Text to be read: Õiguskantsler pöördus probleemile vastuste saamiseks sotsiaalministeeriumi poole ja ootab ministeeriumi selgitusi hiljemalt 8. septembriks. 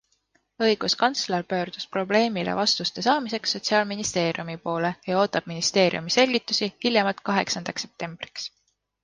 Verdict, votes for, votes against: rejected, 0, 2